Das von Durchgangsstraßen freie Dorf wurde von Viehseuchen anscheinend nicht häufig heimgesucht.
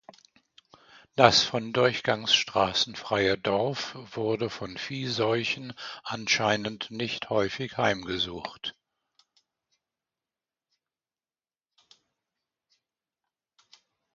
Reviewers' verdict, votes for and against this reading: accepted, 2, 0